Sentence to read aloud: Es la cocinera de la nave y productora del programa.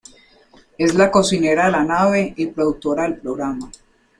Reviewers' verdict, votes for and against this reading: accepted, 2, 0